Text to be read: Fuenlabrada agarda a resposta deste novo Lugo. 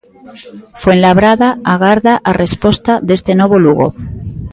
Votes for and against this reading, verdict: 1, 2, rejected